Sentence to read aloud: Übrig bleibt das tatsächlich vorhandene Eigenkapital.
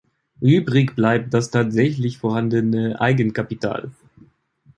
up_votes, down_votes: 2, 0